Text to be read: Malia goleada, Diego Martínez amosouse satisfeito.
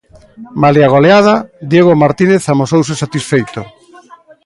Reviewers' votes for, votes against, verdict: 2, 0, accepted